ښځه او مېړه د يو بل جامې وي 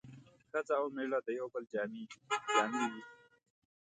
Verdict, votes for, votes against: rejected, 1, 2